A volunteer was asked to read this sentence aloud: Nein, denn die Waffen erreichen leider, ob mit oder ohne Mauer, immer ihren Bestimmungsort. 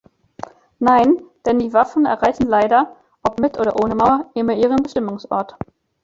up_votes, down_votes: 2, 0